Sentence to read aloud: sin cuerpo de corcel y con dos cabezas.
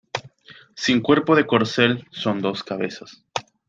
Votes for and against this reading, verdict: 1, 2, rejected